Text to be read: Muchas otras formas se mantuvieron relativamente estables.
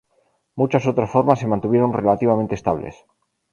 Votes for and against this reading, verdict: 4, 0, accepted